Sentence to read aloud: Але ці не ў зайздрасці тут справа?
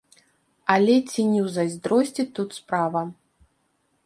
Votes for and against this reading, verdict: 0, 2, rejected